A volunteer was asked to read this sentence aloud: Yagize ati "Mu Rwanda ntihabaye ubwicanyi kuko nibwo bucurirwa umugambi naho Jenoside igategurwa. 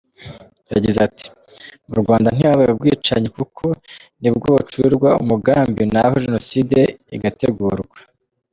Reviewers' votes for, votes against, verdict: 2, 0, accepted